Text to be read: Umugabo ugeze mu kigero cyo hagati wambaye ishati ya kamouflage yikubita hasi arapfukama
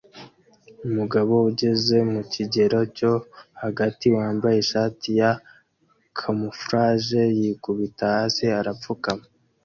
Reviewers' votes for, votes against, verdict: 2, 0, accepted